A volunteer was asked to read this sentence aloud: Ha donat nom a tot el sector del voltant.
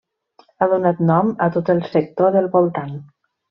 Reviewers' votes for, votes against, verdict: 3, 0, accepted